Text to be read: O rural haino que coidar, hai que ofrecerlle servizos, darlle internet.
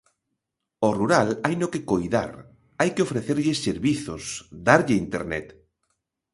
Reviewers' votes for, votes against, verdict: 3, 0, accepted